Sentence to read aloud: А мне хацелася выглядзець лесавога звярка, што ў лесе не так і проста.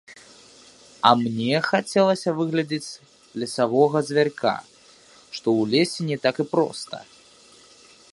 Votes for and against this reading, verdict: 1, 2, rejected